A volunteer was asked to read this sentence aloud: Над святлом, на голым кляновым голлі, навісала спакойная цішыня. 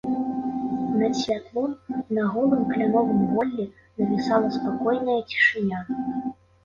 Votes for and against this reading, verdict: 0, 2, rejected